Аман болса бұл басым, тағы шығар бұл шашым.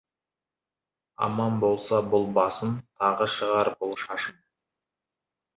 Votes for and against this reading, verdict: 0, 2, rejected